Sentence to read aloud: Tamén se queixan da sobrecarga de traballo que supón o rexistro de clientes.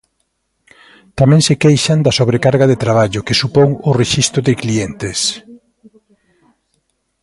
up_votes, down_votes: 0, 2